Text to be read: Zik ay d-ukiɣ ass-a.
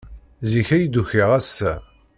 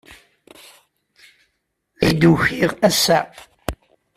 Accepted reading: first